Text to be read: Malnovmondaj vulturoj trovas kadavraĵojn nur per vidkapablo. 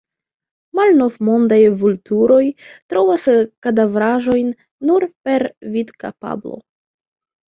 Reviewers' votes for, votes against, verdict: 2, 1, accepted